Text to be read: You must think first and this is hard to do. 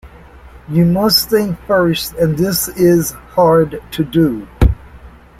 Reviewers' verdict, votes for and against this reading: accepted, 2, 0